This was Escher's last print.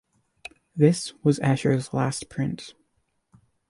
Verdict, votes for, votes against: accepted, 2, 0